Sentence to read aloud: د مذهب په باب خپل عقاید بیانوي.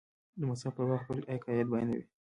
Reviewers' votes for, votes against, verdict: 2, 0, accepted